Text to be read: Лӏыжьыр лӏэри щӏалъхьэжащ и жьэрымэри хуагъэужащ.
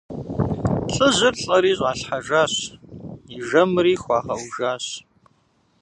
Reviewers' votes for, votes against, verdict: 0, 2, rejected